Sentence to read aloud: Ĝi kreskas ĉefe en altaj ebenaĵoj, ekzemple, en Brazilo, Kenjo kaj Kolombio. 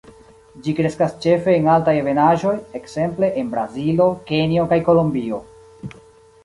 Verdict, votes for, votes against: accepted, 2, 1